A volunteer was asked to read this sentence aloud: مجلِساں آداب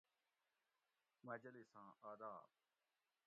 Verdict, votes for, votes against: rejected, 1, 2